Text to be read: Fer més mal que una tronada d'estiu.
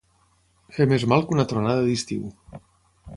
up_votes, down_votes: 3, 0